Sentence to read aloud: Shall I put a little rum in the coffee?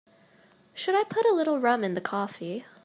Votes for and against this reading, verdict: 2, 0, accepted